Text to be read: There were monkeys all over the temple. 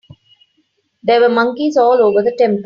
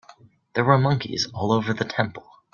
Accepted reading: second